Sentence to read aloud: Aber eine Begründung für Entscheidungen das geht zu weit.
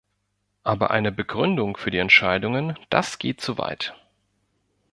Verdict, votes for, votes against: rejected, 1, 2